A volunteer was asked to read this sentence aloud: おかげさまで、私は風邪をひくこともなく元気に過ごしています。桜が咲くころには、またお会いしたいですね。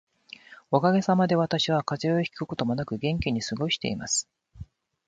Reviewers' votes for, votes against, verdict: 0, 2, rejected